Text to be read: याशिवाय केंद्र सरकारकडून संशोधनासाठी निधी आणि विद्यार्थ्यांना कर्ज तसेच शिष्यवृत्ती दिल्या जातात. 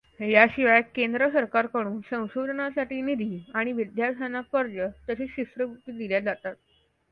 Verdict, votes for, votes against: accepted, 2, 0